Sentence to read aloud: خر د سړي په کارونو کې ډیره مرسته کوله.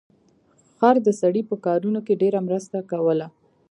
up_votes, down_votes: 2, 0